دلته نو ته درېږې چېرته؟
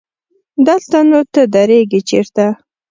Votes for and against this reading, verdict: 2, 0, accepted